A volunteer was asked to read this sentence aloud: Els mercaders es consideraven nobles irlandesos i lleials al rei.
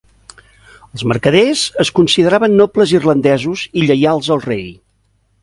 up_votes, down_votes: 2, 0